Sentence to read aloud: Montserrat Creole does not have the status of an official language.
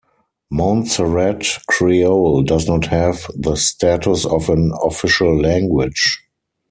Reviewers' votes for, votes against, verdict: 4, 0, accepted